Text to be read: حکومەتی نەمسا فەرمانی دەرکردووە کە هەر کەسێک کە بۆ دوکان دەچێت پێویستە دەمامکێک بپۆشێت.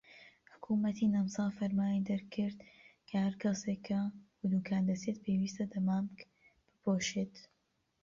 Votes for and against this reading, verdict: 0, 2, rejected